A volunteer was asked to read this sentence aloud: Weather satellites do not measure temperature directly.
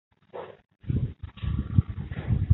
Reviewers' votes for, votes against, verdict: 0, 2, rejected